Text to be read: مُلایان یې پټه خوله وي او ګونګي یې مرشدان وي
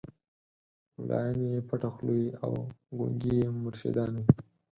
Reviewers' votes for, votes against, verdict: 2, 4, rejected